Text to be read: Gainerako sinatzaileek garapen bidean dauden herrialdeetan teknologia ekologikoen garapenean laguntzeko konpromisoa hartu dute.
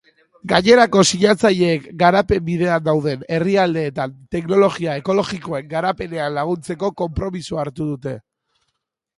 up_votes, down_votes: 0, 2